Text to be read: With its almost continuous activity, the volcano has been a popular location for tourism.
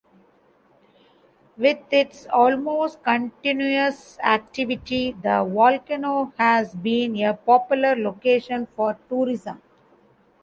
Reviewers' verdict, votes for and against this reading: accepted, 2, 0